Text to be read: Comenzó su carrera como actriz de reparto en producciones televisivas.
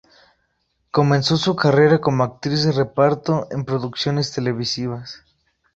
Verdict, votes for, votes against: accepted, 2, 0